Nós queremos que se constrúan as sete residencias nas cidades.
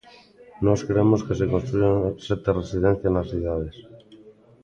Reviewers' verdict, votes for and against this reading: rejected, 1, 2